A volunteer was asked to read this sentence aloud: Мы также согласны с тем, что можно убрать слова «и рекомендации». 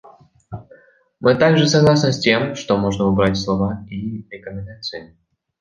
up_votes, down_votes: 2, 0